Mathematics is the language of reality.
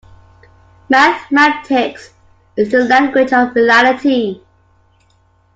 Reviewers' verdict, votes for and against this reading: accepted, 2, 1